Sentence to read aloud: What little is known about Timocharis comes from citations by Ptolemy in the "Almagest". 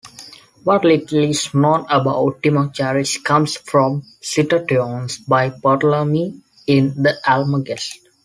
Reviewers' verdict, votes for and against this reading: rejected, 0, 2